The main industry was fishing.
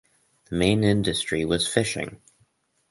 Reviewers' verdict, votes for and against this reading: rejected, 0, 2